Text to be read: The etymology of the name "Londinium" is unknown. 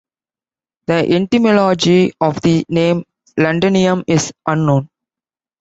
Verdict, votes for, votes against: rejected, 1, 2